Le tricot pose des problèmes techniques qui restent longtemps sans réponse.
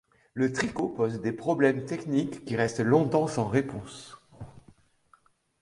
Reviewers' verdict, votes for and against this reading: accepted, 2, 0